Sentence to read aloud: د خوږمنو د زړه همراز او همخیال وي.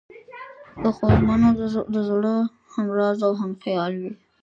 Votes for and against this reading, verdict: 2, 1, accepted